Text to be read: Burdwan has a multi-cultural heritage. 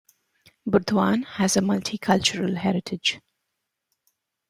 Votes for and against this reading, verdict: 2, 0, accepted